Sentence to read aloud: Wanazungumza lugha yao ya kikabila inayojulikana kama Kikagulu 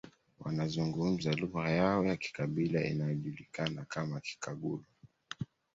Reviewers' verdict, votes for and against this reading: accepted, 2, 0